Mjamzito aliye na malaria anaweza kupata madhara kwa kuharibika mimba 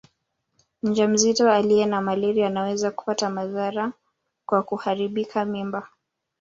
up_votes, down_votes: 1, 2